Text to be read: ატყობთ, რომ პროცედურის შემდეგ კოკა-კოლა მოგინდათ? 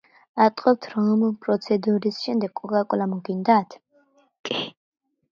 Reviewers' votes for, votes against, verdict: 2, 0, accepted